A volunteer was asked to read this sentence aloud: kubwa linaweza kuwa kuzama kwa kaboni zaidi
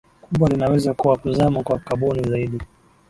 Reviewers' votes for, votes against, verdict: 6, 0, accepted